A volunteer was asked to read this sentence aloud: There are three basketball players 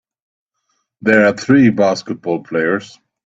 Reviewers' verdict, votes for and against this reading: accepted, 2, 0